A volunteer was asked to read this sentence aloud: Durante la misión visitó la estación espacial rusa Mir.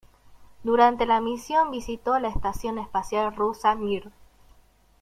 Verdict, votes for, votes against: accepted, 2, 0